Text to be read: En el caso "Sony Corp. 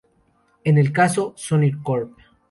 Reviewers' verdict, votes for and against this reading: accepted, 4, 0